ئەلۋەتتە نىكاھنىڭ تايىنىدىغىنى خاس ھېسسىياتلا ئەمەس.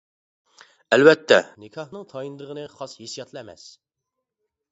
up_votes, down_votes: 2, 0